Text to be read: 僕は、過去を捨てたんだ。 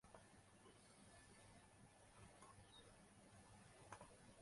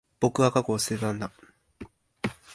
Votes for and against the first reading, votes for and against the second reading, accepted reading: 0, 3, 2, 1, second